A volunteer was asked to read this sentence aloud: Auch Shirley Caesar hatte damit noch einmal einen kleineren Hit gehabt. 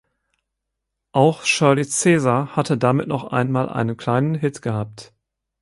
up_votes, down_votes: 0, 4